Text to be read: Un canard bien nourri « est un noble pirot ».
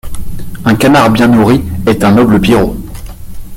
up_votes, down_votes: 2, 1